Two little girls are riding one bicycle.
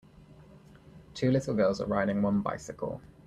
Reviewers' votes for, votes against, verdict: 2, 0, accepted